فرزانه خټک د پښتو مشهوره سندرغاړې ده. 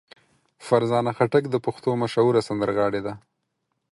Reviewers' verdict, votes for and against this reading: accepted, 4, 0